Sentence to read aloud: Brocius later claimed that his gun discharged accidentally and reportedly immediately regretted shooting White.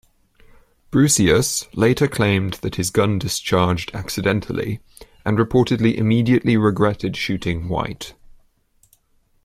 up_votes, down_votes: 2, 0